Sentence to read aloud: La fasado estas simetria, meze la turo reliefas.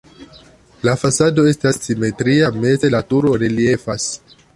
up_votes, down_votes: 2, 0